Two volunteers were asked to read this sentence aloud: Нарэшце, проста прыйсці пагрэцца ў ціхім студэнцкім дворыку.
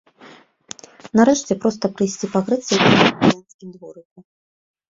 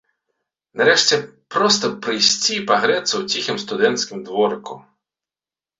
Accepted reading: second